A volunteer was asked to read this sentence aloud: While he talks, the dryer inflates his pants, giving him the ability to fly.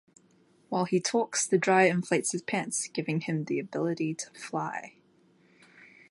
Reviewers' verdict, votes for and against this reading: accepted, 2, 0